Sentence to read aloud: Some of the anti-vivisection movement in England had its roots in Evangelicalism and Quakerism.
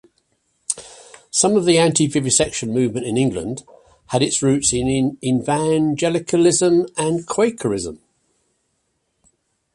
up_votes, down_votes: 0, 2